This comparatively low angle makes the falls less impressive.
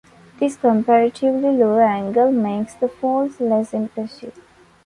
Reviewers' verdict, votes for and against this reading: accepted, 2, 1